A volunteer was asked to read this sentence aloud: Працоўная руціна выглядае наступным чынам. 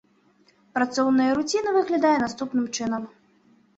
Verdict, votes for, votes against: accepted, 2, 0